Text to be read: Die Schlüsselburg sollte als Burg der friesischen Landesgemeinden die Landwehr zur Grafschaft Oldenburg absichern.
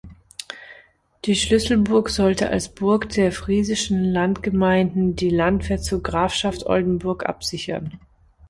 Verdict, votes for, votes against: rejected, 1, 3